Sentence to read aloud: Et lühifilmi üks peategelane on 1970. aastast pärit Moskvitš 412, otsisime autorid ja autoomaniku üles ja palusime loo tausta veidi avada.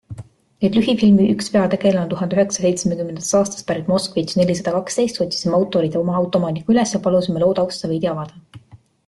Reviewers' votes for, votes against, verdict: 0, 2, rejected